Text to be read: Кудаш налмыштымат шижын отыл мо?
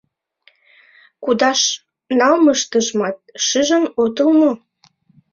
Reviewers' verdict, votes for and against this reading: rejected, 1, 2